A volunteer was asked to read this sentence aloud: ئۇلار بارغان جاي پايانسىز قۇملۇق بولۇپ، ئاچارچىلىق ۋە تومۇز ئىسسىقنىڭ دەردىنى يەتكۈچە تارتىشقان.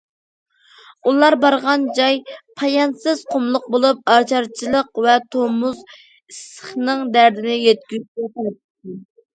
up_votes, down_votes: 0, 2